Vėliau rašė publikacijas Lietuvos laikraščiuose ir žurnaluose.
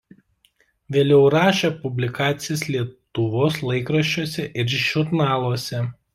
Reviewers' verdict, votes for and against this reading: rejected, 0, 2